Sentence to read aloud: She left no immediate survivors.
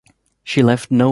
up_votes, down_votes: 0, 2